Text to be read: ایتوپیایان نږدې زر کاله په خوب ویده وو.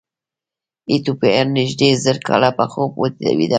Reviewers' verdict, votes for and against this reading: accepted, 2, 0